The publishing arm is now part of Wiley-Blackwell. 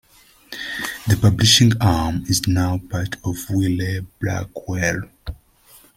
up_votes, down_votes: 2, 0